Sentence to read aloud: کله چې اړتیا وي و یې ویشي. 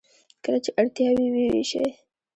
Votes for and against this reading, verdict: 1, 2, rejected